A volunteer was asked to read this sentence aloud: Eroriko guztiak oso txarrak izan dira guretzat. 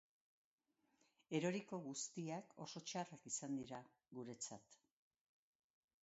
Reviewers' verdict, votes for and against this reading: accepted, 5, 0